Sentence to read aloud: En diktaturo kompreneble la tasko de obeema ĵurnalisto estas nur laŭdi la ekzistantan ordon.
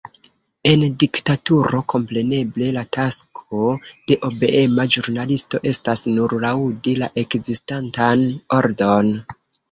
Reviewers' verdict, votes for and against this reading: accepted, 3, 2